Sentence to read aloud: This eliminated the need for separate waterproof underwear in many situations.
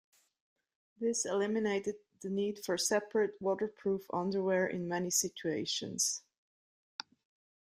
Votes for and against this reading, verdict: 2, 0, accepted